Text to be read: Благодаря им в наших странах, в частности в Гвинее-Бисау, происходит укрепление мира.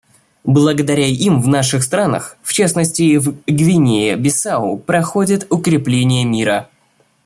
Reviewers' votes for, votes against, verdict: 1, 2, rejected